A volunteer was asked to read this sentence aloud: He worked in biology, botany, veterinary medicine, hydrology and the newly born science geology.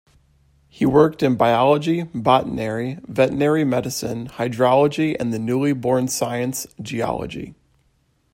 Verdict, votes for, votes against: rejected, 0, 2